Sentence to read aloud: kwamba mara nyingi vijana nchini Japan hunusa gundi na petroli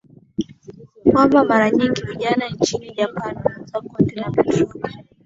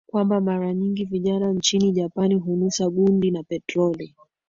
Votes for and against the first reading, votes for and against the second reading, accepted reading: 1, 2, 3, 0, second